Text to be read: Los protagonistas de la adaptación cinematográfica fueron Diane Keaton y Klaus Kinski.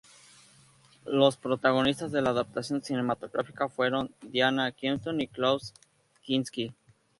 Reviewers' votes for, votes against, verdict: 0, 2, rejected